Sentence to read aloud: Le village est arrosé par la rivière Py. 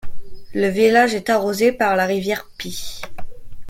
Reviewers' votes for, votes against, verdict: 2, 0, accepted